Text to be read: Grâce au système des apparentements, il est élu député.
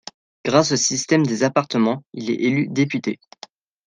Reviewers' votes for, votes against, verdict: 0, 2, rejected